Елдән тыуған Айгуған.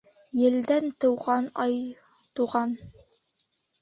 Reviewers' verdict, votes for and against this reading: rejected, 0, 2